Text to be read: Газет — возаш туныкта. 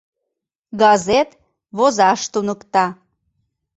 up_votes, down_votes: 2, 0